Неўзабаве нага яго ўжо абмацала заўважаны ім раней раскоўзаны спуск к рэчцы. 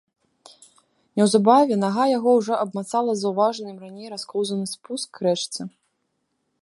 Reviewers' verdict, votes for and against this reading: rejected, 0, 2